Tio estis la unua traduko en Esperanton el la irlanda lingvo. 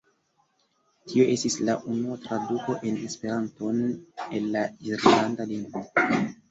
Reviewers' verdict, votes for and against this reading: accepted, 2, 0